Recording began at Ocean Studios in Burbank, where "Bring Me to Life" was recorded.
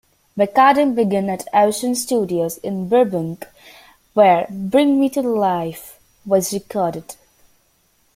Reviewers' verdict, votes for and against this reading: rejected, 0, 2